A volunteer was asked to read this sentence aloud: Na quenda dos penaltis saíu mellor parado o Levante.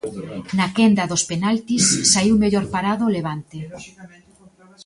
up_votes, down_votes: 2, 0